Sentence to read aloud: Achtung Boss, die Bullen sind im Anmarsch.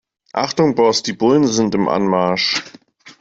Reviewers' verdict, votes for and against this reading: accepted, 2, 0